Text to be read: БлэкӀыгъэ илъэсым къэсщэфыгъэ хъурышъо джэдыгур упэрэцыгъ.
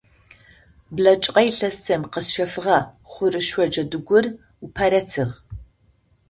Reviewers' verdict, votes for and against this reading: rejected, 0, 2